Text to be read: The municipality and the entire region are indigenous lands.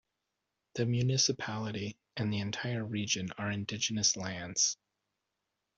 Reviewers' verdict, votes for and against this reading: accepted, 2, 0